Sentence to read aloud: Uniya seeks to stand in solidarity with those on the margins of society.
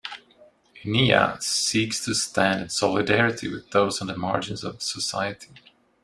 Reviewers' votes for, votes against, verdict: 0, 2, rejected